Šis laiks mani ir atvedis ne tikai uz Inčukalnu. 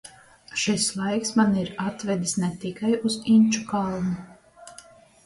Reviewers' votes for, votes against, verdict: 2, 0, accepted